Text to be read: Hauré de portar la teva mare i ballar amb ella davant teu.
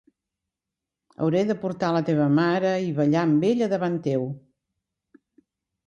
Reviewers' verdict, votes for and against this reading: accepted, 2, 0